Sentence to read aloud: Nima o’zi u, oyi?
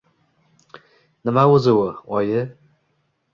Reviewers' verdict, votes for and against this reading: accepted, 2, 0